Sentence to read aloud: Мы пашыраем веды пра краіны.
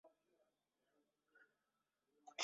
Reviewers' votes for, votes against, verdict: 0, 2, rejected